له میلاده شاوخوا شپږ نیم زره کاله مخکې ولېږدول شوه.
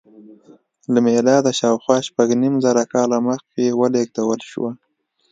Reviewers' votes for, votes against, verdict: 2, 0, accepted